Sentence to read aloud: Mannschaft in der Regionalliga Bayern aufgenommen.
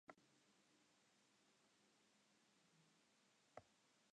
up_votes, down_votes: 0, 2